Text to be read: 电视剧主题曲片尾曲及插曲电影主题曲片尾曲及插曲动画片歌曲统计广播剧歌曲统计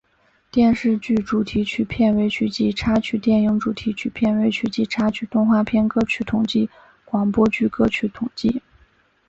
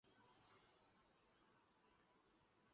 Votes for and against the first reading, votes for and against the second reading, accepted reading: 2, 0, 0, 2, first